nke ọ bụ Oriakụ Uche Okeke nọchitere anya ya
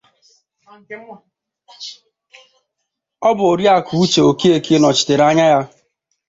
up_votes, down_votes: 0, 3